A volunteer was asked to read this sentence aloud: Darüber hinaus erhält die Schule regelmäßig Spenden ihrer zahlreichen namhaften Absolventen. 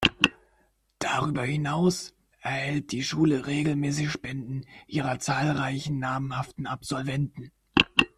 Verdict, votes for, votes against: accepted, 2, 0